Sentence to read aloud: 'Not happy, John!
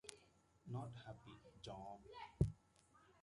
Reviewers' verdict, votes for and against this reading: rejected, 1, 2